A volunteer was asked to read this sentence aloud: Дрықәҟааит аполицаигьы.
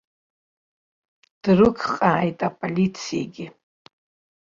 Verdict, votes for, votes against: accepted, 2, 1